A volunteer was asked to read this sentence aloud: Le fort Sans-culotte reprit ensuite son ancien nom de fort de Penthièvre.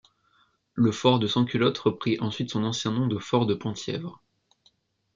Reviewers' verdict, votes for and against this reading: rejected, 1, 2